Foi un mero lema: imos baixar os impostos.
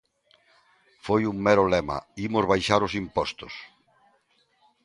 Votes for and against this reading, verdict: 2, 0, accepted